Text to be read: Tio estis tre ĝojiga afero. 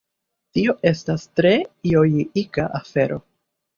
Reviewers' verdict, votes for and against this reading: rejected, 0, 2